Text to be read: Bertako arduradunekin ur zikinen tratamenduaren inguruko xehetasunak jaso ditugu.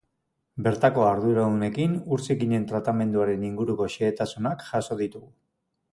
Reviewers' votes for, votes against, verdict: 2, 1, accepted